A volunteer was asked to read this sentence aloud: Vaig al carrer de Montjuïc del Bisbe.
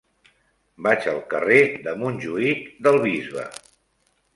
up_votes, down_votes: 3, 1